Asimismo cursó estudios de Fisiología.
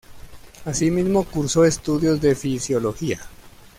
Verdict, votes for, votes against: accepted, 2, 0